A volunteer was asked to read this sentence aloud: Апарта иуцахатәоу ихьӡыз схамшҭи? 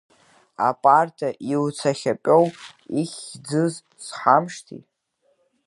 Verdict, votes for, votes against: rejected, 0, 2